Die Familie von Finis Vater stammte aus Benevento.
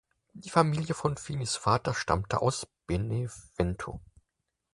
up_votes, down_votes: 2, 4